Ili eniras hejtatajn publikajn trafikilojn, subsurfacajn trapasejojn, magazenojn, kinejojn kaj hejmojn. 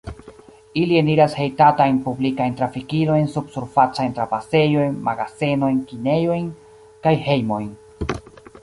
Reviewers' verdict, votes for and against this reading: rejected, 1, 2